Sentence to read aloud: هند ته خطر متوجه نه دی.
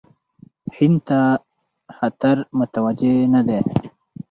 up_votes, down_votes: 4, 0